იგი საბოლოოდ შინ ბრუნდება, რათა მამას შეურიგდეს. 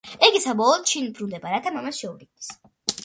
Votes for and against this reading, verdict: 2, 1, accepted